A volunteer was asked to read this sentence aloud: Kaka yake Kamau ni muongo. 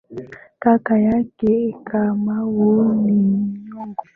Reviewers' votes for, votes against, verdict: 2, 0, accepted